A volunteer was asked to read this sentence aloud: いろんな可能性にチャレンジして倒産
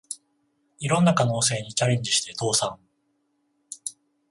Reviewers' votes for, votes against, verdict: 14, 0, accepted